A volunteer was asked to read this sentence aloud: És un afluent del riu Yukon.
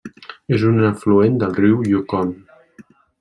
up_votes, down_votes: 3, 0